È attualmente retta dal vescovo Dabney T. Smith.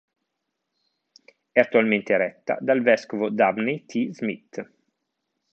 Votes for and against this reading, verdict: 0, 2, rejected